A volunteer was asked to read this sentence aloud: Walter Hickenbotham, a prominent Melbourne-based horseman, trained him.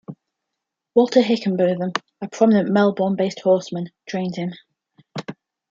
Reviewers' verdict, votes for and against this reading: accepted, 2, 0